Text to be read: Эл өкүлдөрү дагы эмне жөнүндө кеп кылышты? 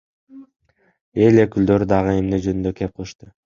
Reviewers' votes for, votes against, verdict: 1, 2, rejected